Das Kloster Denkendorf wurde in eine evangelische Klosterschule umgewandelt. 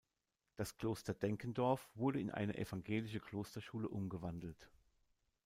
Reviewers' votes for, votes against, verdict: 2, 0, accepted